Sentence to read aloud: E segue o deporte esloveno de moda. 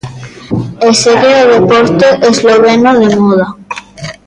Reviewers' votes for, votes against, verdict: 2, 1, accepted